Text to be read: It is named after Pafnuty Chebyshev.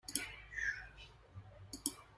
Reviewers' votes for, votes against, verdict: 0, 2, rejected